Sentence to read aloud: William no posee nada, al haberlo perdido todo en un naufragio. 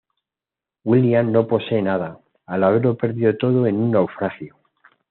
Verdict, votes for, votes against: accepted, 2, 0